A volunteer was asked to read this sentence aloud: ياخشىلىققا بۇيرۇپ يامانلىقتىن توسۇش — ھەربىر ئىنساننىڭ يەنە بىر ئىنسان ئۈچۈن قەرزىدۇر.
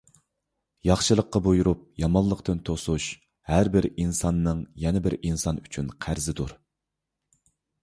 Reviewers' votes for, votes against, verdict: 2, 0, accepted